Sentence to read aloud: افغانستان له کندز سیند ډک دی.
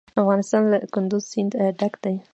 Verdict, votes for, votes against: accepted, 2, 1